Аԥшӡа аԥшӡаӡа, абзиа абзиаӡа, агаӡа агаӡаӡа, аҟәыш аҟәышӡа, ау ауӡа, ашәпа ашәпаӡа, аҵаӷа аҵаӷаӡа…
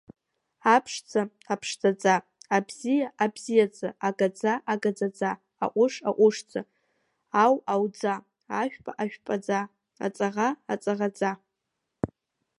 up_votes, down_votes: 0, 2